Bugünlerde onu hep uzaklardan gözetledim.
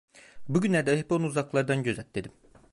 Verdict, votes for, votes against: rejected, 0, 2